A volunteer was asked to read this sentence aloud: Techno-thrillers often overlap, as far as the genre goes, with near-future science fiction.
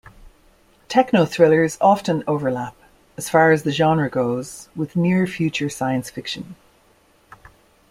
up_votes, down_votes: 2, 0